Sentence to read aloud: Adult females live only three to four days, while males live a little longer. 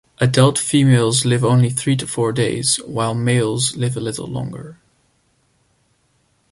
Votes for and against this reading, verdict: 1, 2, rejected